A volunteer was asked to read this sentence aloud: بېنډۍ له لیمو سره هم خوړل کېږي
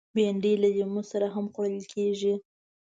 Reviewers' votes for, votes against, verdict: 2, 0, accepted